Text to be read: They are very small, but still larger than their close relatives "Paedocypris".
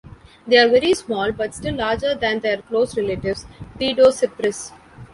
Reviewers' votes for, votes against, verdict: 2, 0, accepted